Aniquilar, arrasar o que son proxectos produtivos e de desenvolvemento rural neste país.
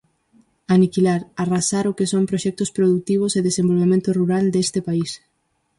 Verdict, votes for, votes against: rejected, 2, 2